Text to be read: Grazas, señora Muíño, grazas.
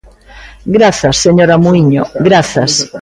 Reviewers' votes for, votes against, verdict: 0, 2, rejected